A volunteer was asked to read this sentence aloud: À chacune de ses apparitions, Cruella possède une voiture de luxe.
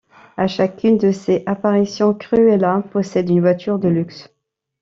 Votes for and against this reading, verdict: 2, 1, accepted